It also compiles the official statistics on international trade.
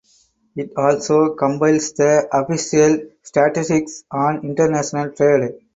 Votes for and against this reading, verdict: 0, 2, rejected